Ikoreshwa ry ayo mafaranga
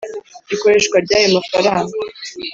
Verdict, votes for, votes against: accepted, 4, 0